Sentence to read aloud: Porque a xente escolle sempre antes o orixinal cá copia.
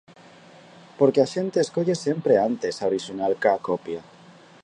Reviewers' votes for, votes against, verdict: 0, 2, rejected